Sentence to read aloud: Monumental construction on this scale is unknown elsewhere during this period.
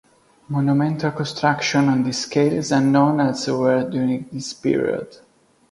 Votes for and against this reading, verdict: 2, 0, accepted